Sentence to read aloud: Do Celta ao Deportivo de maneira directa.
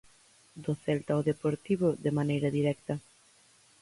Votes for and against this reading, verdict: 4, 0, accepted